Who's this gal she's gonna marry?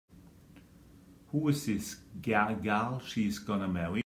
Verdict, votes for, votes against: rejected, 0, 3